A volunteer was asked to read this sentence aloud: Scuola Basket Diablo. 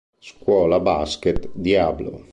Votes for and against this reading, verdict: 3, 0, accepted